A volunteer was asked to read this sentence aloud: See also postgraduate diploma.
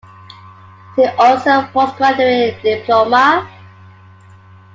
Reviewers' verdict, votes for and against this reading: accepted, 2, 1